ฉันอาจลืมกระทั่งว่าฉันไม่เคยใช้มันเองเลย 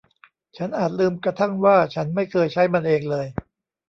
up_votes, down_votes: 2, 1